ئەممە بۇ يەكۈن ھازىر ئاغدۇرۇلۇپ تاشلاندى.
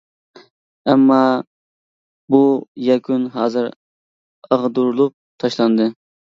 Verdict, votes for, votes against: accepted, 2, 0